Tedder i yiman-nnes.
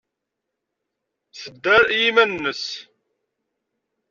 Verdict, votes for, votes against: accepted, 2, 0